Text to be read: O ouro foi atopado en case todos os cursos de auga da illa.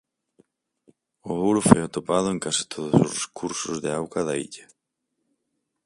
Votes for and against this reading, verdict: 4, 0, accepted